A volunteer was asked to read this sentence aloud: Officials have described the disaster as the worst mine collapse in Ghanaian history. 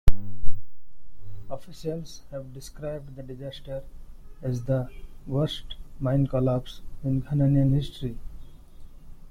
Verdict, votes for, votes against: rejected, 1, 2